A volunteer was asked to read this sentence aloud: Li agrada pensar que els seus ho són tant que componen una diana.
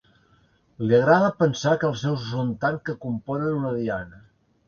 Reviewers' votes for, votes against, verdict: 2, 1, accepted